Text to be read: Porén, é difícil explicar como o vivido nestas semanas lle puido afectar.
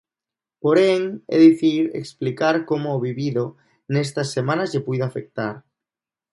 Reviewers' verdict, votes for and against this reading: rejected, 0, 2